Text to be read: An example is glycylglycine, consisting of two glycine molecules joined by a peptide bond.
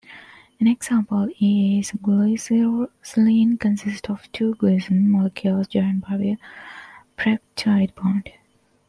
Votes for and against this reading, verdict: 1, 2, rejected